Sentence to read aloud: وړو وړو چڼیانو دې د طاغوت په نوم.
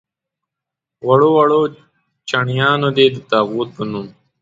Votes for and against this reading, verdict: 2, 0, accepted